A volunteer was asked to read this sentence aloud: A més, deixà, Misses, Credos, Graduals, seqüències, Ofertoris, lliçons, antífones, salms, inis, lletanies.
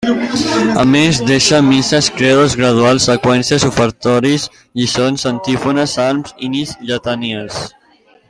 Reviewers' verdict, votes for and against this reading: rejected, 1, 2